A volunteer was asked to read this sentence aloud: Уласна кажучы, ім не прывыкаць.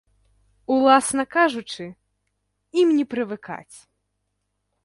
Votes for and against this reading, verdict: 2, 0, accepted